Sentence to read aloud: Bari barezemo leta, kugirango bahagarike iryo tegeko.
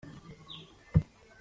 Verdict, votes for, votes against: rejected, 0, 2